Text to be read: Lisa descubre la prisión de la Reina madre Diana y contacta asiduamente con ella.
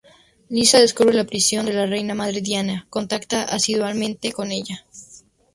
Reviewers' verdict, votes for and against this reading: rejected, 2, 2